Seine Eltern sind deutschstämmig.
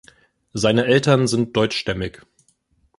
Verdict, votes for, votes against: accepted, 2, 0